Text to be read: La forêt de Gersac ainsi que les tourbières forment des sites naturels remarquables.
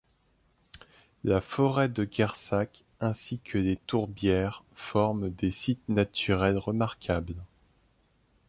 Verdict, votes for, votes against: rejected, 1, 2